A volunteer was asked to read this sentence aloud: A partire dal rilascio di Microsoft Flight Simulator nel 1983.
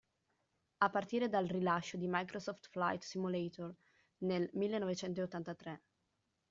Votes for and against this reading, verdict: 0, 2, rejected